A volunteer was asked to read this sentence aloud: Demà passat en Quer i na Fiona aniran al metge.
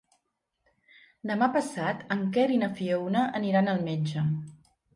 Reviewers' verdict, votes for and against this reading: accepted, 3, 0